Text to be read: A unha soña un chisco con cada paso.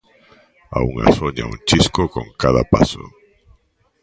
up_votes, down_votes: 1, 2